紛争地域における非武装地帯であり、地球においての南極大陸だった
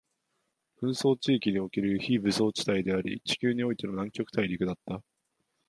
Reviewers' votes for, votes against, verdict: 3, 0, accepted